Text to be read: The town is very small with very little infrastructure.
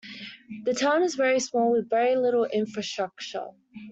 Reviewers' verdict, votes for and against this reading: accepted, 2, 0